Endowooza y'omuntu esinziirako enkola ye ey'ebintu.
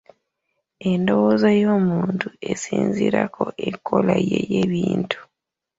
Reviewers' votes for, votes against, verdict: 3, 1, accepted